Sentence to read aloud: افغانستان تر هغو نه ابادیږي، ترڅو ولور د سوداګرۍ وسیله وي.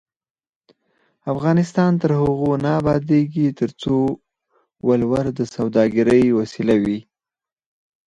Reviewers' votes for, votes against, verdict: 2, 4, rejected